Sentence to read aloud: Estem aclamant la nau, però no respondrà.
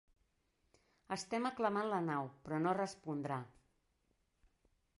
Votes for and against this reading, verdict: 3, 0, accepted